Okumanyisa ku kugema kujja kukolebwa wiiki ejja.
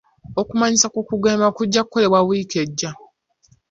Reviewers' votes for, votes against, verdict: 3, 0, accepted